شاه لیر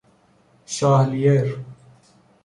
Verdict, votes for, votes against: rejected, 0, 2